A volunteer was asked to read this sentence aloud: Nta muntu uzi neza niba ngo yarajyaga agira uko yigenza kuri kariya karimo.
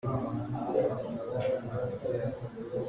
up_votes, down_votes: 0, 2